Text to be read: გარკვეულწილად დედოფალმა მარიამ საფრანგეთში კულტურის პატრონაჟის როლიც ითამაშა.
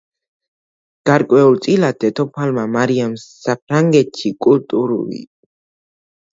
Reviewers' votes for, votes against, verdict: 0, 2, rejected